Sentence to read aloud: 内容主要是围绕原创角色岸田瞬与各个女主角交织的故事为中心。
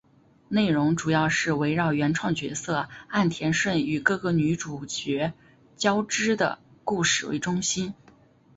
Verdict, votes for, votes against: accepted, 2, 0